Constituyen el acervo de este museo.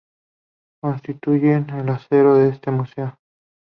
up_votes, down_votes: 2, 0